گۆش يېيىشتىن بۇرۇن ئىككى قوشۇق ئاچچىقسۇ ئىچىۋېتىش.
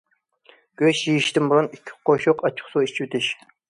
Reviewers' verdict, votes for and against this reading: accepted, 2, 0